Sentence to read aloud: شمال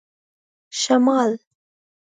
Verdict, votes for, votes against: accepted, 2, 0